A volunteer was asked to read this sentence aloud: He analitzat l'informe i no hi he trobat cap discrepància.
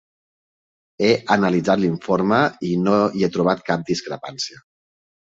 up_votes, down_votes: 4, 0